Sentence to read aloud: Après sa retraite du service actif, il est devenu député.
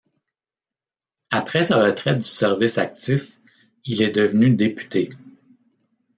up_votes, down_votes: 2, 0